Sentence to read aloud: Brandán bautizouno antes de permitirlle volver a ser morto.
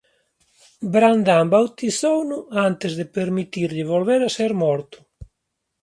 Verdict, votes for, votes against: rejected, 0, 2